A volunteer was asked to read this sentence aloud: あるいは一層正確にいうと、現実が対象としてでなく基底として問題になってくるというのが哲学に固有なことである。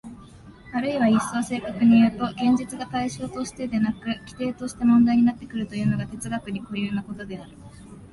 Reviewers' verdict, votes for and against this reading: accepted, 2, 0